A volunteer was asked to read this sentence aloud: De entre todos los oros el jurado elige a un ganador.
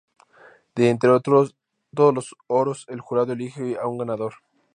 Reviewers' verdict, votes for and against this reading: rejected, 0, 2